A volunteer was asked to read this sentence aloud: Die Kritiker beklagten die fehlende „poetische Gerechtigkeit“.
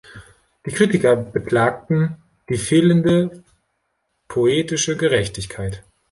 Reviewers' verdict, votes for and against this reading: accepted, 2, 0